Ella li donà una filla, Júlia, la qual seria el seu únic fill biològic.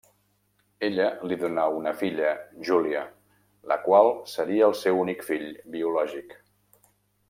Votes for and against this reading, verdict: 3, 0, accepted